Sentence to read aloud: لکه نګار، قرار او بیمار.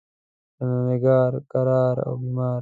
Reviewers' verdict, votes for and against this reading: rejected, 1, 2